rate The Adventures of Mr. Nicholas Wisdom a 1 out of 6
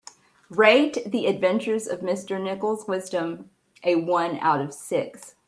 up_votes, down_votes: 0, 2